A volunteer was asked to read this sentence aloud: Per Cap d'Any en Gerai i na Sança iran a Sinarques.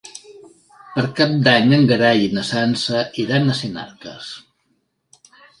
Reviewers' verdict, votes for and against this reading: rejected, 2, 3